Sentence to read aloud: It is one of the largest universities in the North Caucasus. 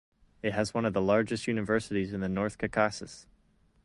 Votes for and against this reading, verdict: 0, 2, rejected